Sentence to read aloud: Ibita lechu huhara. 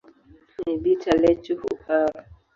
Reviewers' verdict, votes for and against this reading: accepted, 2, 0